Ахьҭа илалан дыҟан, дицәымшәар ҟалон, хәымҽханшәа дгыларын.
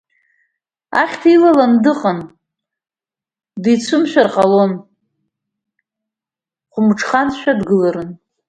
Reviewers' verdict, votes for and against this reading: accepted, 2, 1